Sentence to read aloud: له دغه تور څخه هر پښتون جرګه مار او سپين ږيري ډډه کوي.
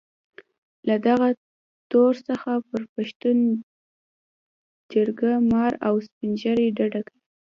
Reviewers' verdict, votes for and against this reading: accepted, 2, 0